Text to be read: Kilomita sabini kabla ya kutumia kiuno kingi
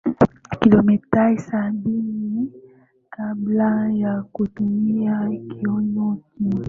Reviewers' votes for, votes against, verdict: 2, 0, accepted